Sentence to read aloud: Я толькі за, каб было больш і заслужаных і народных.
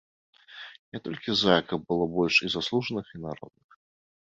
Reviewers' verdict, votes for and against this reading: accepted, 2, 0